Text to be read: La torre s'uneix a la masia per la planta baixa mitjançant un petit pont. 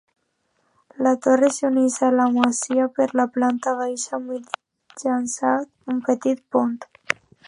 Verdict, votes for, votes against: accepted, 2, 1